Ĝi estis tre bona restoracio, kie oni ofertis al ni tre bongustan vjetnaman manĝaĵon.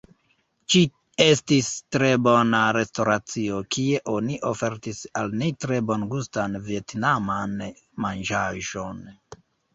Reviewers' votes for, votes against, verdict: 0, 2, rejected